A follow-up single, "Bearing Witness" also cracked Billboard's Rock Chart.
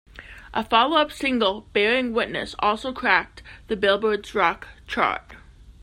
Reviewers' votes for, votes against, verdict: 0, 2, rejected